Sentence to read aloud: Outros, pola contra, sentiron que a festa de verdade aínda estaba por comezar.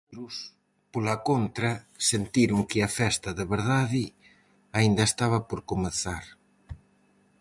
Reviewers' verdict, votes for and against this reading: rejected, 0, 4